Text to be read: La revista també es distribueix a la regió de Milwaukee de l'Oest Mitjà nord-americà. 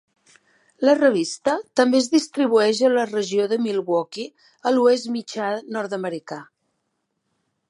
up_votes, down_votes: 0, 2